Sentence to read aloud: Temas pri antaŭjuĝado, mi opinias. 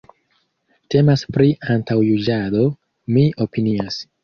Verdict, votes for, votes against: rejected, 1, 2